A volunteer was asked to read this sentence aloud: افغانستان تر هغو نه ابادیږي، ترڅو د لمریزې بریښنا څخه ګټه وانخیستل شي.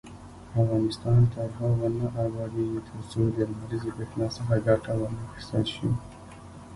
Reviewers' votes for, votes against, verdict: 1, 2, rejected